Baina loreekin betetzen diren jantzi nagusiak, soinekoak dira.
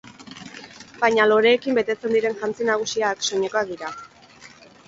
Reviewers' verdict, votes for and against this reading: accepted, 4, 0